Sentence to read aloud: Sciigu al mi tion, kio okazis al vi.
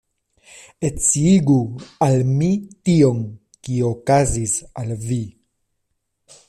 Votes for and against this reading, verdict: 1, 2, rejected